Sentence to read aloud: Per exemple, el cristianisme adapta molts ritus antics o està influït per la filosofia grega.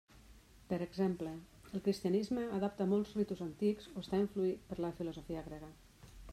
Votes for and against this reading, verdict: 1, 2, rejected